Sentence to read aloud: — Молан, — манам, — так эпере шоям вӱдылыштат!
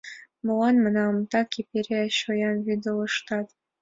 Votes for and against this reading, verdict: 2, 0, accepted